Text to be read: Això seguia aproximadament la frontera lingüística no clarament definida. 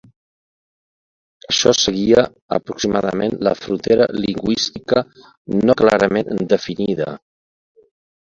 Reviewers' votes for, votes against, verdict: 2, 0, accepted